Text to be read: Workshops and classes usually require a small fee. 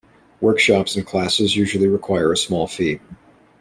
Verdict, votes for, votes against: rejected, 1, 2